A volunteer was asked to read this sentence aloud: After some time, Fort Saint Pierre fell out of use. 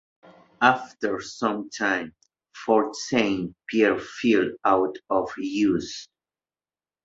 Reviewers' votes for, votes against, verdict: 2, 0, accepted